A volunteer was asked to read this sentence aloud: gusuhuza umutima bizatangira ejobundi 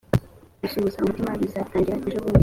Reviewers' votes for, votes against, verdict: 2, 0, accepted